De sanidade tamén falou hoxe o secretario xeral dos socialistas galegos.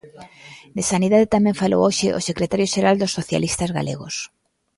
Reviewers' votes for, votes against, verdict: 1, 2, rejected